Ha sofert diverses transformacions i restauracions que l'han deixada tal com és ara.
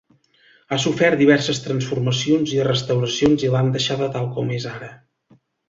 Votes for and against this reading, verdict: 2, 3, rejected